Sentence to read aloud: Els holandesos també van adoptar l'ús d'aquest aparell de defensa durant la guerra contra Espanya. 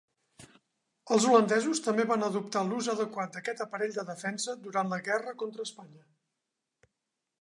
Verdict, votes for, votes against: rejected, 1, 2